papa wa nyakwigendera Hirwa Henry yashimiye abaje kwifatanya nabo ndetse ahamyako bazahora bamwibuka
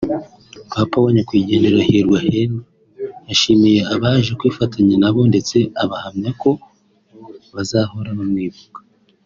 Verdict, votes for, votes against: accepted, 2, 0